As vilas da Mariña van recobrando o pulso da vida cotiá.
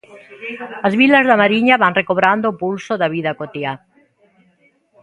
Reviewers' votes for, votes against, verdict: 0, 2, rejected